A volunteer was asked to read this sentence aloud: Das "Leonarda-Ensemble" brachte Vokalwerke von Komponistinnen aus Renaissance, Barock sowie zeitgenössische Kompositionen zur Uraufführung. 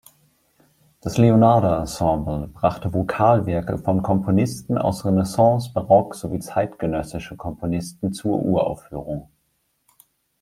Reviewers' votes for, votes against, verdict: 1, 2, rejected